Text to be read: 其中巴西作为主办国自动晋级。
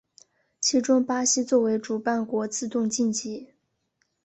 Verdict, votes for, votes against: accepted, 2, 0